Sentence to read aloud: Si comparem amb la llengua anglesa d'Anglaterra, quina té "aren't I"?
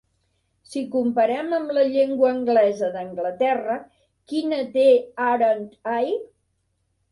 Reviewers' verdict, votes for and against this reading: accepted, 2, 0